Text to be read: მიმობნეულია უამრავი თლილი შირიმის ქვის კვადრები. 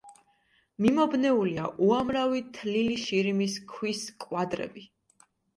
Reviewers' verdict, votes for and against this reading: accepted, 2, 0